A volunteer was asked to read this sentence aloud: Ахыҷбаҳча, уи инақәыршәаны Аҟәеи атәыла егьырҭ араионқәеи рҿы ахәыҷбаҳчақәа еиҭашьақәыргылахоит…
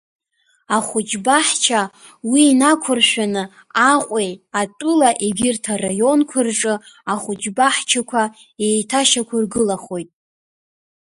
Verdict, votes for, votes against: rejected, 0, 2